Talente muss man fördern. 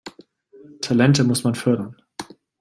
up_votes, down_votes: 2, 0